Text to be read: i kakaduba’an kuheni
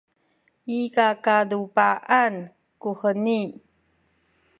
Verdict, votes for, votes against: rejected, 1, 2